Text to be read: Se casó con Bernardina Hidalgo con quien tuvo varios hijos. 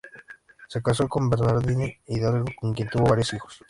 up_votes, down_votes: 0, 2